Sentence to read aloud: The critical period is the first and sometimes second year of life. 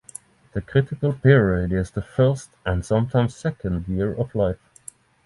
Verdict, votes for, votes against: rejected, 3, 3